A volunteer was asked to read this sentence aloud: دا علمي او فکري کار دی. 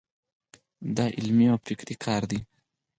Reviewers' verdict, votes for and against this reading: rejected, 0, 4